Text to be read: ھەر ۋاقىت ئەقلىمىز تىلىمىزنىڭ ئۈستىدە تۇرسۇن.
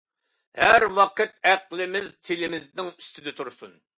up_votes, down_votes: 2, 0